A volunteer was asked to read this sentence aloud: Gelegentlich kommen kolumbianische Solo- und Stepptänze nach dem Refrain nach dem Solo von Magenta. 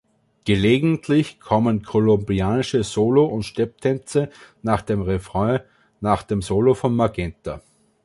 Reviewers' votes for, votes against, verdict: 2, 0, accepted